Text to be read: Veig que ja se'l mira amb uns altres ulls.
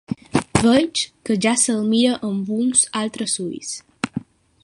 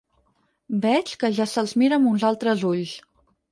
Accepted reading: first